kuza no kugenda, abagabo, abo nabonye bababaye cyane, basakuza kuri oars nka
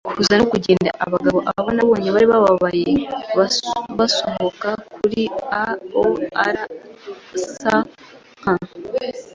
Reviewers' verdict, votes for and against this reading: rejected, 1, 2